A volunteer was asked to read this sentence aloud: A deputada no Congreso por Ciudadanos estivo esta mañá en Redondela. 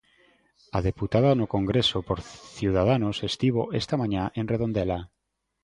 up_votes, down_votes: 2, 0